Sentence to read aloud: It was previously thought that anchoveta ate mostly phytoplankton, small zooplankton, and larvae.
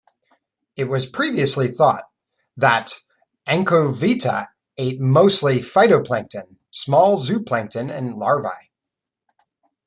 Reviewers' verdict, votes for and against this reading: rejected, 1, 2